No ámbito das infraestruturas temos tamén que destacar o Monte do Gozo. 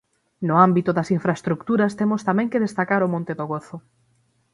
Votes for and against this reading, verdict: 3, 6, rejected